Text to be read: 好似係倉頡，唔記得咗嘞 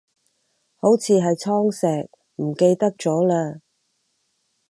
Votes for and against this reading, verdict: 0, 4, rejected